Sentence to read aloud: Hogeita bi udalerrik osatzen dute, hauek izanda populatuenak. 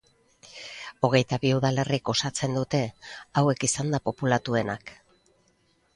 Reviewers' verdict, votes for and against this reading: accepted, 2, 0